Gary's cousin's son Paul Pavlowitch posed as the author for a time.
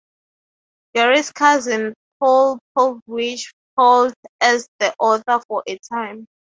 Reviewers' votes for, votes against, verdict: 0, 3, rejected